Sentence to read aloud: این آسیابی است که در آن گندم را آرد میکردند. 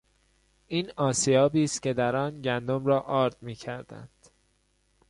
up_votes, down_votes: 2, 0